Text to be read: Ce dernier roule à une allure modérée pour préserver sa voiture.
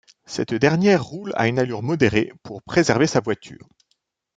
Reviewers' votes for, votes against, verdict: 1, 3, rejected